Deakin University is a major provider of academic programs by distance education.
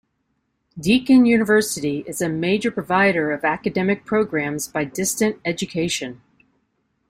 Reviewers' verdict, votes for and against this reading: rejected, 0, 2